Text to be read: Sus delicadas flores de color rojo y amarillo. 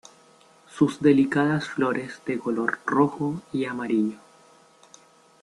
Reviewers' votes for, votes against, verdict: 2, 0, accepted